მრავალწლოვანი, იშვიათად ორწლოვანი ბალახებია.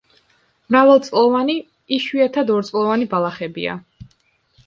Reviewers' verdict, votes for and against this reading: accepted, 2, 0